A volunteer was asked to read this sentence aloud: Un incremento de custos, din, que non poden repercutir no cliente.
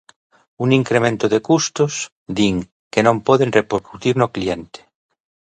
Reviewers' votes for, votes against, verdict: 0, 2, rejected